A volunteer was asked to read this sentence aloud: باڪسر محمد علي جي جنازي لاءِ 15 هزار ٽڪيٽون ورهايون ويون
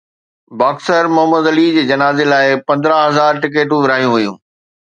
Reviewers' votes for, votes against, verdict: 0, 2, rejected